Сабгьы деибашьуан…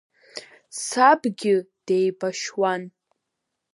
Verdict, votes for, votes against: accepted, 3, 0